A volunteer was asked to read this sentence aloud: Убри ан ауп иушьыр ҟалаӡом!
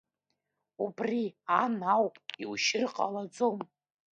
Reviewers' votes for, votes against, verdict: 3, 2, accepted